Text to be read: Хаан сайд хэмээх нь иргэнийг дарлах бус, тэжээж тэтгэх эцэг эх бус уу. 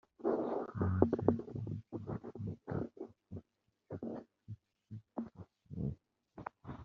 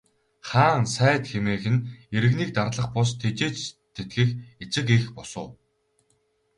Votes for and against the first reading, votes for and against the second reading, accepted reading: 1, 2, 2, 0, second